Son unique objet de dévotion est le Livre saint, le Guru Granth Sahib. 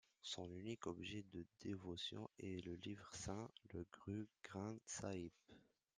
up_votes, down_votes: 0, 2